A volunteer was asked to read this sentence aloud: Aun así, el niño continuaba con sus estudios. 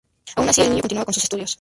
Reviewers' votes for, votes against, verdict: 0, 2, rejected